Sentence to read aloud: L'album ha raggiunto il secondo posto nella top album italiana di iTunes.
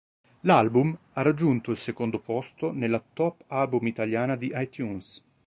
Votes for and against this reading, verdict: 2, 0, accepted